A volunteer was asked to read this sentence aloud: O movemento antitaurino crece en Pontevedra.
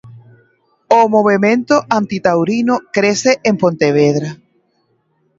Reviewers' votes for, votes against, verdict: 2, 1, accepted